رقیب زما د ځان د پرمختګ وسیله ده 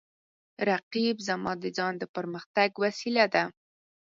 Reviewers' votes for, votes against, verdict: 4, 0, accepted